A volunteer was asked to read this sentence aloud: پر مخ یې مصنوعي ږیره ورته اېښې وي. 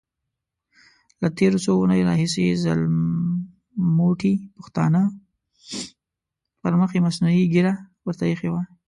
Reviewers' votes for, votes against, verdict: 0, 2, rejected